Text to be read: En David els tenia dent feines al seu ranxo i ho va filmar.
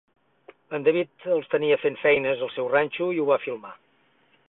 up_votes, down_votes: 0, 4